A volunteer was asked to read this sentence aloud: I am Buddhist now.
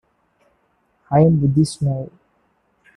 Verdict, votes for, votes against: accepted, 2, 0